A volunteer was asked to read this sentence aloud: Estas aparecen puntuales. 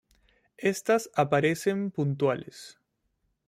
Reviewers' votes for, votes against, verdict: 2, 0, accepted